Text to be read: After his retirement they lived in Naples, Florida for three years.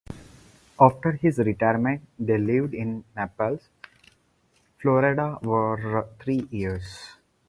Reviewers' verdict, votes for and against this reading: rejected, 2, 4